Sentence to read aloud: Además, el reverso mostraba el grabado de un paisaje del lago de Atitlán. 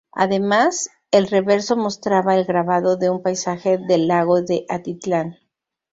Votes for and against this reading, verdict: 2, 0, accepted